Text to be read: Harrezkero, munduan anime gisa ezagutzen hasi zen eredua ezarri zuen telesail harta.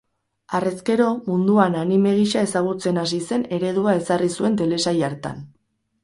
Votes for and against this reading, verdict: 0, 4, rejected